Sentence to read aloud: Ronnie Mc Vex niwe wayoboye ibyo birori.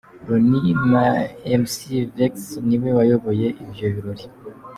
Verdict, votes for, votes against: rejected, 0, 2